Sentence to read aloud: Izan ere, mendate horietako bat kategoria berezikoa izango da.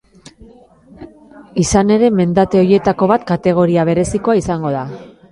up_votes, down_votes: 1, 2